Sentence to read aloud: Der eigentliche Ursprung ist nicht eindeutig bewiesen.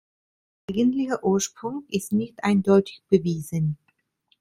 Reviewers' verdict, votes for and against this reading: rejected, 0, 2